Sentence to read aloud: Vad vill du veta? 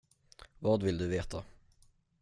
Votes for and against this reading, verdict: 10, 0, accepted